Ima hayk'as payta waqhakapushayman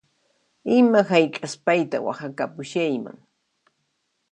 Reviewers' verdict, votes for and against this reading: accepted, 2, 0